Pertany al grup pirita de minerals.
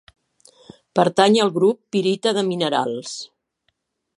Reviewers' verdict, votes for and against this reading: accepted, 2, 0